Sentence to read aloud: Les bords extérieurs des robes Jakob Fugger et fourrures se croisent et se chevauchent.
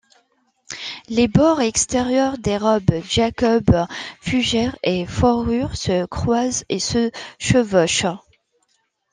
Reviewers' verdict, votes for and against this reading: rejected, 0, 2